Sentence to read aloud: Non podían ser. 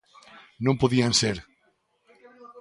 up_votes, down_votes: 3, 0